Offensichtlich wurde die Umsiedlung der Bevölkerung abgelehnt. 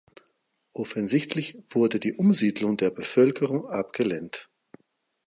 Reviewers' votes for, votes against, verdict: 4, 0, accepted